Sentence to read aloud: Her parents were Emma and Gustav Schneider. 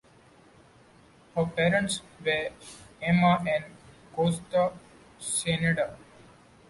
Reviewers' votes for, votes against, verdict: 1, 2, rejected